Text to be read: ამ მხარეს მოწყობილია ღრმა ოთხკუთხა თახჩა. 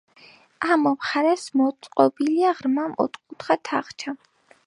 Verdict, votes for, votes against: accepted, 2, 1